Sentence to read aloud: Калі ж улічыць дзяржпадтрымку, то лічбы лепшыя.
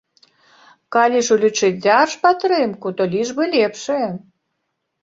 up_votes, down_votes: 2, 0